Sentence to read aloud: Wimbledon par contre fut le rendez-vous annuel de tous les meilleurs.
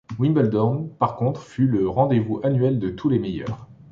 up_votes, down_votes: 0, 2